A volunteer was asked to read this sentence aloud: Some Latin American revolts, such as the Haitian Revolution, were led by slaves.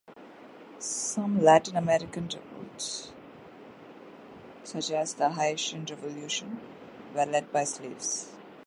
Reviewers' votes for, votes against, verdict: 0, 2, rejected